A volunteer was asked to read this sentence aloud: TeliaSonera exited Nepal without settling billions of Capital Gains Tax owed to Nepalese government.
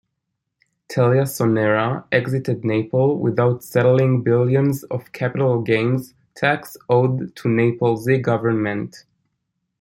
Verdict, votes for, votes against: rejected, 0, 2